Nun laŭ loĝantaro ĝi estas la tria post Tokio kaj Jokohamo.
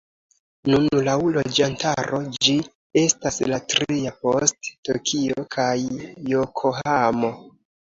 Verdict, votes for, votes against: accepted, 2, 0